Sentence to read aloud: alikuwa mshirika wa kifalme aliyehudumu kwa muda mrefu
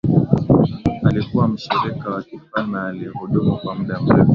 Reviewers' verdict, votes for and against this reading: accepted, 2, 1